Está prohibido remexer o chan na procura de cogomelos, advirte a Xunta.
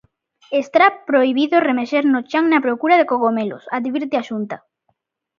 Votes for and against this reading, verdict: 0, 2, rejected